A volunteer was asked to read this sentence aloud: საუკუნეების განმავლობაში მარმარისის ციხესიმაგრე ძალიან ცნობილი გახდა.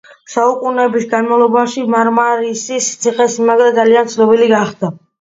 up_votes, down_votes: 2, 0